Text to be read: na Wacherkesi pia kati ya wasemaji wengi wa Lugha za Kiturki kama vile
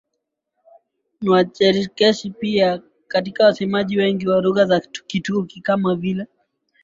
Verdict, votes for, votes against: rejected, 0, 2